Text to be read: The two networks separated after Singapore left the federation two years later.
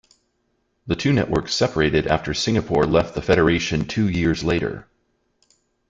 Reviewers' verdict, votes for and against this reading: accepted, 2, 0